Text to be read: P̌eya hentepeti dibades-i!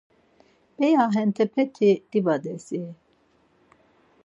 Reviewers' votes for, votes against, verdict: 4, 0, accepted